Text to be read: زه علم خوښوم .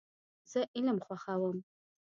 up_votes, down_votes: 2, 0